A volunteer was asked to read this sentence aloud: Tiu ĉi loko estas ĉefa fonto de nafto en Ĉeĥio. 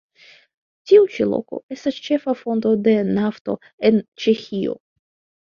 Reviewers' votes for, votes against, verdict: 3, 2, accepted